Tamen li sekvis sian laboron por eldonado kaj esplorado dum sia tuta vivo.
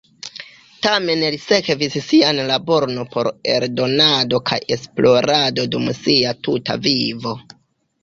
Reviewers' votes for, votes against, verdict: 1, 2, rejected